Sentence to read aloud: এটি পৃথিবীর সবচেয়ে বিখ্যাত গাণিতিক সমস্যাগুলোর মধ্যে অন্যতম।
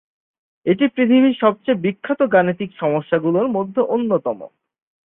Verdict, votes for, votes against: accepted, 23, 1